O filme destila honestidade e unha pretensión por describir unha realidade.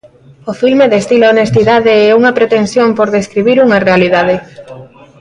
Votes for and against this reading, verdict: 1, 2, rejected